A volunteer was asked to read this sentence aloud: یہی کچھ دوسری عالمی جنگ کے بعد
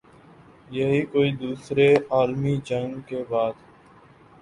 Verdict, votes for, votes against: rejected, 1, 2